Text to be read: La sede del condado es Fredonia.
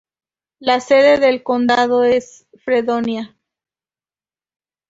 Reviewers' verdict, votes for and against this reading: accepted, 4, 0